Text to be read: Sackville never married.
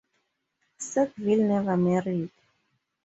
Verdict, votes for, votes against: rejected, 0, 2